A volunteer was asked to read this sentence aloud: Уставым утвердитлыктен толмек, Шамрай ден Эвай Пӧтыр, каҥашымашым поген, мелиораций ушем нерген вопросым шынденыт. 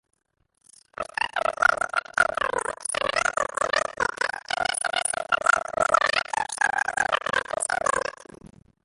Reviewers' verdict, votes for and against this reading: rejected, 0, 2